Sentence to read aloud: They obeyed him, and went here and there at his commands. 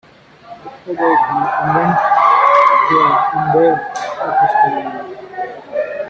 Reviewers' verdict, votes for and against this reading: rejected, 0, 2